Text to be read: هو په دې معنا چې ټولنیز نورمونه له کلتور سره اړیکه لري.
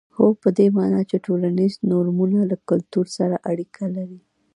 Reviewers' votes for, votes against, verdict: 0, 2, rejected